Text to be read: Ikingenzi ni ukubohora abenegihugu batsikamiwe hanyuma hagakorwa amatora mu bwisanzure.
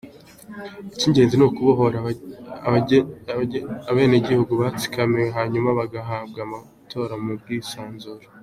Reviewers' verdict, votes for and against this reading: rejected, 1, 3